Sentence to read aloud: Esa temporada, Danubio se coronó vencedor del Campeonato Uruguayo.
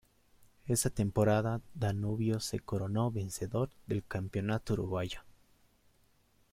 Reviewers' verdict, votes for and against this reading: accepted, 2, 0